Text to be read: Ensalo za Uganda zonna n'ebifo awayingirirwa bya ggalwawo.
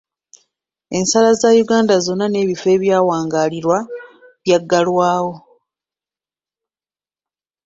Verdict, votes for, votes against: rejected, 1, 2